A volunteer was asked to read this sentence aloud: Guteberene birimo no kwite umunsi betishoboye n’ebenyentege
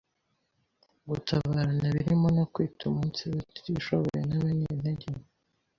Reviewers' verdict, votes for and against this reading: rejected, 1, 2